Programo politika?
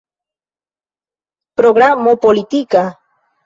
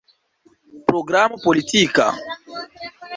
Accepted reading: first